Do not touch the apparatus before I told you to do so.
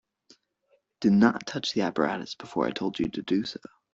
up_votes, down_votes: 2, 1